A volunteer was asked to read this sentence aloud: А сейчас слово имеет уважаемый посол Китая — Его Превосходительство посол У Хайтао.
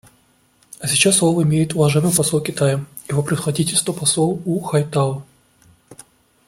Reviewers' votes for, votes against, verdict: 2, 0, accepted